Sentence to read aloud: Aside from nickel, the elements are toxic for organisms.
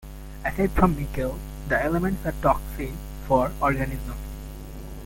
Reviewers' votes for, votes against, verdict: 0, 2, rejected